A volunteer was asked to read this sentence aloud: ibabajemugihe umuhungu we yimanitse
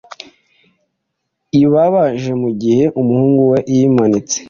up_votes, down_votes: 2, 0